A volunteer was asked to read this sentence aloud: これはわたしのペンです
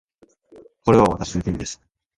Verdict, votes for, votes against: rejected, 0, 2